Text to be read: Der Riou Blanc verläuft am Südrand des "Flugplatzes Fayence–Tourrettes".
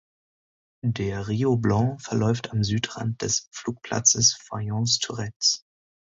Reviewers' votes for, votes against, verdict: 2, 1, accepted